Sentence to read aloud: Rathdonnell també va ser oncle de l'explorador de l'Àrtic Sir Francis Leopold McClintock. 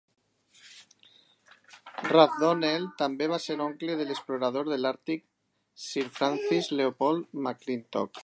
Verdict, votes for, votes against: accepted, 4, 2